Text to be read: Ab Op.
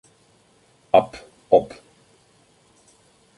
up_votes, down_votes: 2, 1